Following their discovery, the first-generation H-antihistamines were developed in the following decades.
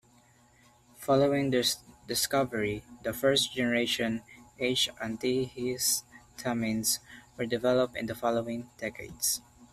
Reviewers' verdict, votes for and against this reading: rejected, 0, 2